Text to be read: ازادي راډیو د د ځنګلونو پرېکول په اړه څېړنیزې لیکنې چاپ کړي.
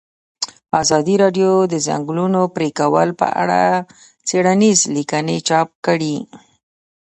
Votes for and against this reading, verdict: 1, 2, rejected